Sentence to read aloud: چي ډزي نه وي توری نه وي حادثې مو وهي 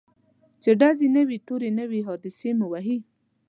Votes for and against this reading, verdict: 2, 0, accepted